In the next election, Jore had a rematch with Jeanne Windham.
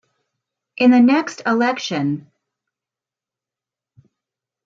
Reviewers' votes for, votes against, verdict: 0, 2, rejected